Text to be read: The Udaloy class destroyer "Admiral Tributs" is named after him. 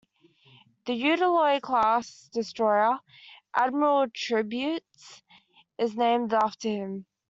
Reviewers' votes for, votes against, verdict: 0, 2, rejected